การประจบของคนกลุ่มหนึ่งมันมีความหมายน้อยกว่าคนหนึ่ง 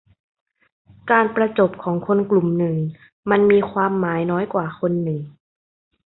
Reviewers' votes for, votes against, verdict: 2, 0, accepted